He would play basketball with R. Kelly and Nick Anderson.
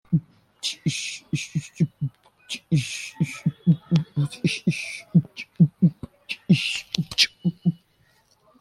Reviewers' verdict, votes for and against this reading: rejected, 0, 2